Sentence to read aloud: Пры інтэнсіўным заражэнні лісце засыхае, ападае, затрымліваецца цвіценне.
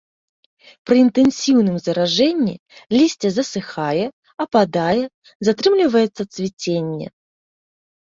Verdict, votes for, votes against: accepted, 2, 0